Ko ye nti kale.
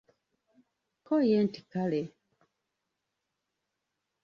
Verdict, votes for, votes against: rejected, 1, 2